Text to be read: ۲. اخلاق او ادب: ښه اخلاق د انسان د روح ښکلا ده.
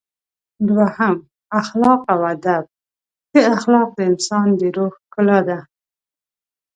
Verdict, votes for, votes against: rejected, 0, 2